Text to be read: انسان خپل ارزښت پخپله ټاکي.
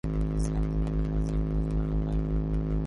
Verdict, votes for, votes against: rejected, 0, 3